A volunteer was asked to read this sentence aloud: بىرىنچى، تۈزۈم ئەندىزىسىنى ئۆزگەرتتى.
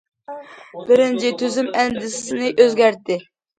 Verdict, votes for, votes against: accepted, 2, 0